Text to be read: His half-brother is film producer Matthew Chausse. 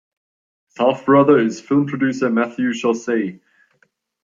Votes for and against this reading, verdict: 1, 2, rejected